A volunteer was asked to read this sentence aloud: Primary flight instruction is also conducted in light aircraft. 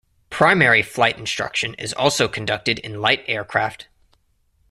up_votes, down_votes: 2, 0